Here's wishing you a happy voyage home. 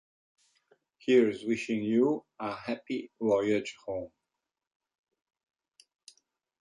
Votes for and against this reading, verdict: 2, 0, accepted